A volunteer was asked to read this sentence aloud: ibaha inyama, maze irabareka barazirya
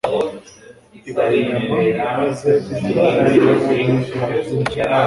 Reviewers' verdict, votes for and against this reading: accepted, 2, 0